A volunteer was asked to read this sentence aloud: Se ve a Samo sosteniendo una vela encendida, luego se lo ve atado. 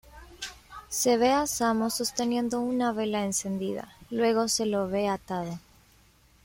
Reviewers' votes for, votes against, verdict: 2, 1, accepted